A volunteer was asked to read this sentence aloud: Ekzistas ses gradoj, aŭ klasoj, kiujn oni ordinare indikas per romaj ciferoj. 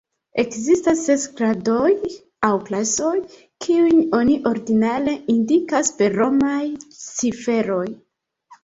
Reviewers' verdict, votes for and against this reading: accepted, 2, 1